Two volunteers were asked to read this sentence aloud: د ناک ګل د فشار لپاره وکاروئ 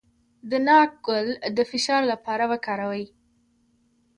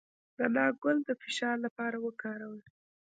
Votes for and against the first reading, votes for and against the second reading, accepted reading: 2, 0, 1, 2, first